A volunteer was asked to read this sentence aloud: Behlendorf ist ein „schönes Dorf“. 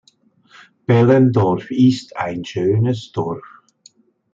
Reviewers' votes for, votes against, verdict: 2, 0, accepted